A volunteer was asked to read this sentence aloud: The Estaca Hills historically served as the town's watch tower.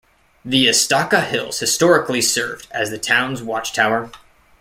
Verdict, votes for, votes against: accepted, 2, 0